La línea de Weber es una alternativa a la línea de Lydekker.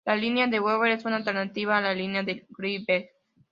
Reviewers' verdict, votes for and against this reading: rejected, 0, 2